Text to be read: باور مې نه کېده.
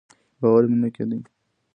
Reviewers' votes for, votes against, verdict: 2, 1, accepted